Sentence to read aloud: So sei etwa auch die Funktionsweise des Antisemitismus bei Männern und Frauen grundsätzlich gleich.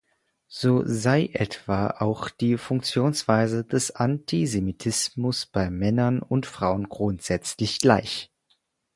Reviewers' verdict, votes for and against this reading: accepted, 4, 0